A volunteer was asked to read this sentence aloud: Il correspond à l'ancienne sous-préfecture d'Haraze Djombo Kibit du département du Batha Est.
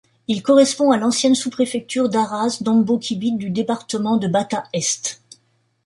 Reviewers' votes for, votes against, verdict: 1, 2, rejected